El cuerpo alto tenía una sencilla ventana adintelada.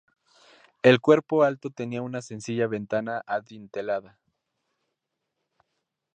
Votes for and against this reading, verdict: 2, 0, accepted